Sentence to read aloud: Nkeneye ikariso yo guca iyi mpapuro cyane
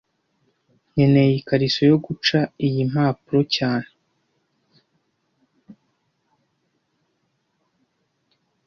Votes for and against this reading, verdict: 2, 0, accepted